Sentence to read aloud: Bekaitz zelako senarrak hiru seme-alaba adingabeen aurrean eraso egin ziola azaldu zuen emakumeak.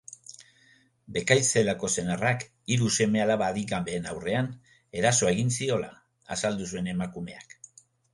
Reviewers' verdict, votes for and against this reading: accepted, 2, 0